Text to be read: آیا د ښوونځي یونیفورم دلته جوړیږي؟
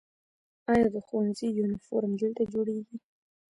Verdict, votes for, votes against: rejected, 1, 2